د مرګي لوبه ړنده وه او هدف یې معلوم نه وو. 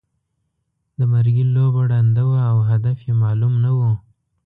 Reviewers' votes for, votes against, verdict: 2, 0, accepted